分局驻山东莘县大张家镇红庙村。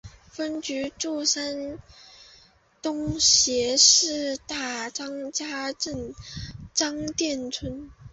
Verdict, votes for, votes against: rejected, 0, 3